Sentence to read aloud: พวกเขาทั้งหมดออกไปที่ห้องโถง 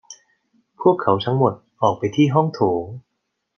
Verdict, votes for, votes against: accepted, 2, 0